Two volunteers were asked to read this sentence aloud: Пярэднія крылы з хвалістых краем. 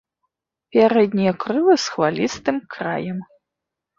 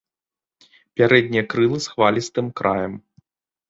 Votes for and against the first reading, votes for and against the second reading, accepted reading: 1, 2, 2, 0, second